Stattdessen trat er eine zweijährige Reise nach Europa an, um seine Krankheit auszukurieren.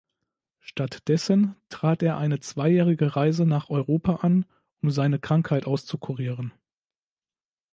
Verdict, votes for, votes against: accepted, 2, 0